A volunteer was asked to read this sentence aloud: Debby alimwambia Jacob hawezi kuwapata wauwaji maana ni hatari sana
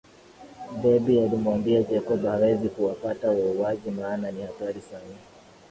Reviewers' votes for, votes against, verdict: 9, 4, accepted